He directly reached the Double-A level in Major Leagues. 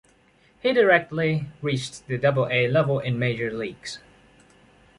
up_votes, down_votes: 1, 2